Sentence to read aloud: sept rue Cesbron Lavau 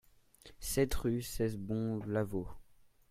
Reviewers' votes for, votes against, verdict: 1, 2, rejected